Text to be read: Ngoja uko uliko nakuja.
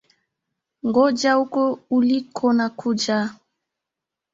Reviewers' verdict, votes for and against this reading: accepted, 4, 1